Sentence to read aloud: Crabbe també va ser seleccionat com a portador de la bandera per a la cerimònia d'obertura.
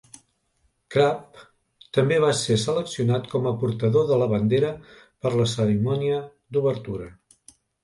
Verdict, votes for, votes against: rejected, 1, 2